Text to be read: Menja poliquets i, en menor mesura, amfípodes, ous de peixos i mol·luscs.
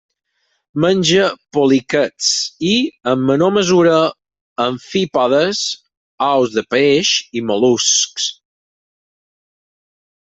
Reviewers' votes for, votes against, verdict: 0, 4, rejected